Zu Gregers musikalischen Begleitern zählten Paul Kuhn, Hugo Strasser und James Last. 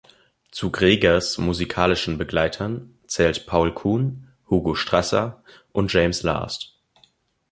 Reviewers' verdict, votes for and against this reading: rejected, 1, 3